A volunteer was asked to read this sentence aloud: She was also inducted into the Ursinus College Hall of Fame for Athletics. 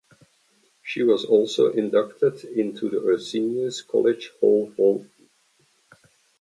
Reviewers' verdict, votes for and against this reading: rejected, 1, 2